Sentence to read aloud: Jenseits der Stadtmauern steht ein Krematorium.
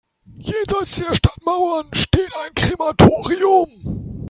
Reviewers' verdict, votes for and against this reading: rejected, 1, 2